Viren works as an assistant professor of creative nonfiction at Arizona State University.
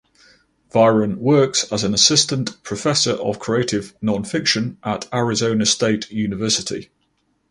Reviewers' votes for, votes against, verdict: 4, 0, accepted